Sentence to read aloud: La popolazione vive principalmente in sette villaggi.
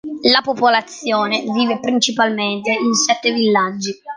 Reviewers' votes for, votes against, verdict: 2, 0, accepted